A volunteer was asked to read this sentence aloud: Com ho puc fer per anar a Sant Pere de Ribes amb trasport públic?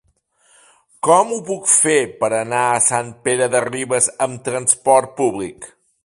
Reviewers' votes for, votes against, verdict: 3, 0, accepted